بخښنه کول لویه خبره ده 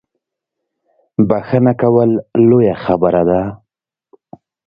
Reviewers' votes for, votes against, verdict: 2, 0, accepted